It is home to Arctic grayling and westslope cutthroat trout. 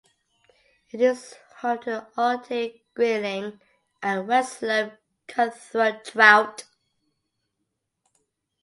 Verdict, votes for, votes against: accepted, 2, 0